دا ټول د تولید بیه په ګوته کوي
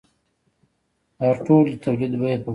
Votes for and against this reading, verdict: 1, 2, rejected